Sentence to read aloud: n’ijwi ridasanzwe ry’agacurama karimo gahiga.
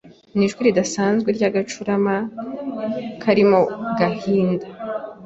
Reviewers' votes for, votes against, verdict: 0, 2, rejected